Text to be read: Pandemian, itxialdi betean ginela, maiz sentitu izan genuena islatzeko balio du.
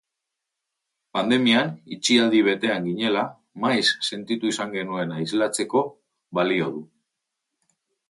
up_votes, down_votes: 2, 0